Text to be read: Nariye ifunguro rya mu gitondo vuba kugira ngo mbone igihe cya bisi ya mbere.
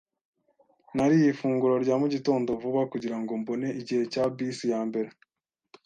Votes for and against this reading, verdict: 2, 0, accepted